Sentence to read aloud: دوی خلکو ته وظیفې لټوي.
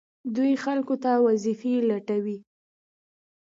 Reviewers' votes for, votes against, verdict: 2, 0, accepted